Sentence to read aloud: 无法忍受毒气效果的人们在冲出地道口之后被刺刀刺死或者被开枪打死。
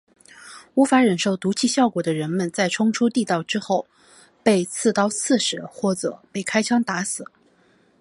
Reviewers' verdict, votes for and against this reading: accepted, 2, 0